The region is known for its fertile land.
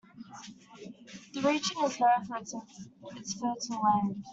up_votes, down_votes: 0, 2